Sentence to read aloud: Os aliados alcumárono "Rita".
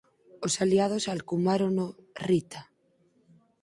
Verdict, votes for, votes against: accepted, 6, 0